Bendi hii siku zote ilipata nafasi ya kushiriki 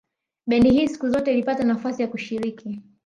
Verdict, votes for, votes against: accepted, 2, 0